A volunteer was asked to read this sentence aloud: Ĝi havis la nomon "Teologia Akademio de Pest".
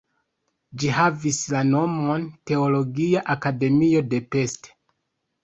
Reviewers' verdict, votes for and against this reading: accepted, 3, 0